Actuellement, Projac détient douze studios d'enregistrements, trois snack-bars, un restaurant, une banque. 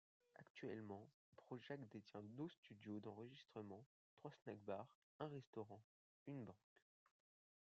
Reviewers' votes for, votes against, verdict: 1, 2, rejected